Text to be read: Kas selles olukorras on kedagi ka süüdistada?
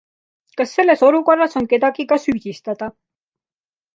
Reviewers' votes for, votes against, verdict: 2, 0, accepted